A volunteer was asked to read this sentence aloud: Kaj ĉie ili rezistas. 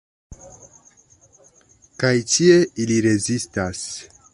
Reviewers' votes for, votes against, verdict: 0, 2, rejected